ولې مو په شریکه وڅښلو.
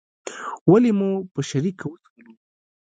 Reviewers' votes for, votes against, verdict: 1, 2, rejected